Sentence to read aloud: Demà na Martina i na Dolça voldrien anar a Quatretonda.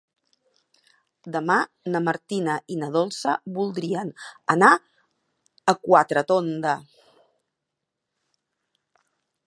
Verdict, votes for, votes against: accepted, 2, 0